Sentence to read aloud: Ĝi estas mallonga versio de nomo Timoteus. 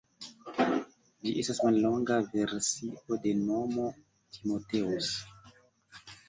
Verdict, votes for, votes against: rejected, 0, 2